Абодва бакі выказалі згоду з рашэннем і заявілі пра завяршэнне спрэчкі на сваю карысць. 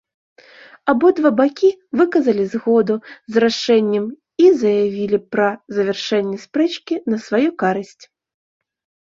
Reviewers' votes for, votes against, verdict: 2, 1, accepted